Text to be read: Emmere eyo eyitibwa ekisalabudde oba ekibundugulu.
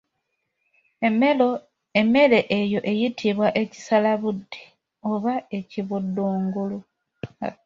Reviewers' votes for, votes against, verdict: 2, 1, accepted